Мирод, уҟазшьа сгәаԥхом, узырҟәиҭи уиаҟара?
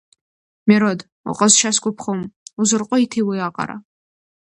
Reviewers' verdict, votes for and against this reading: accepted, 2, 0